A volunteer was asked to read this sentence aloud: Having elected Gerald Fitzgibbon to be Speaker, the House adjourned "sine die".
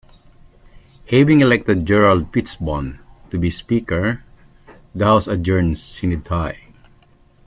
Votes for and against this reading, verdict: 0, 2, rejected